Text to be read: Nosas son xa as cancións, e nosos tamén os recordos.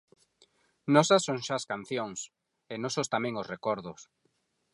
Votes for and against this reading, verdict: 4, 0, accepted